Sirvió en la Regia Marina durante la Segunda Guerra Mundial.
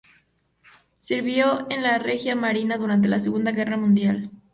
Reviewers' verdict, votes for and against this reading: accepted, 2, 0